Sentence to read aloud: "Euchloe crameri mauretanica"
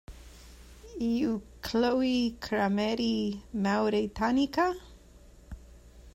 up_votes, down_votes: 1, 2